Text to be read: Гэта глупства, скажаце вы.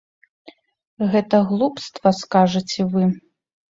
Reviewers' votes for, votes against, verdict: 2, 0, accepted